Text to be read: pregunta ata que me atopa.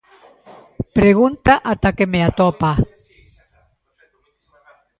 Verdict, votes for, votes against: rejected, 1, 2